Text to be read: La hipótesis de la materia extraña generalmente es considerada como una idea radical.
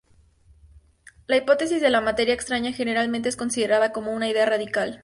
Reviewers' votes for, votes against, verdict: 4, 0, accepted